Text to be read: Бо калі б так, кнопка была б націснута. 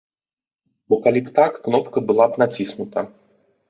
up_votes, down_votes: 3, 0